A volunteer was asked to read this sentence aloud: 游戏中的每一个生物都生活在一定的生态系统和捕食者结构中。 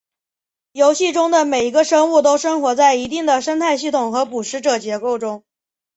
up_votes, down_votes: 5, 1